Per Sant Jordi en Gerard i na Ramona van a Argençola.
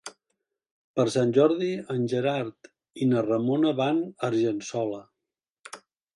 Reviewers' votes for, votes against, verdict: 2, 0, accepted